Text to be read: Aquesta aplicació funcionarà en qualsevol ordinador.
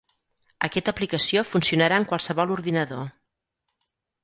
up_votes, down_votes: 0, 4